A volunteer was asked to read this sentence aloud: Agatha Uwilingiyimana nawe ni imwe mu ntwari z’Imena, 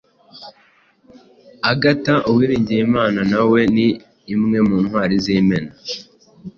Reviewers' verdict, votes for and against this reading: accepted, 2, 0